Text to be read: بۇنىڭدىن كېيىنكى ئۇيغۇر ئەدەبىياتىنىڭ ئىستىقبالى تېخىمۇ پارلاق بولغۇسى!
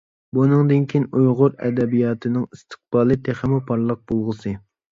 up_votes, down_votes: 0, 2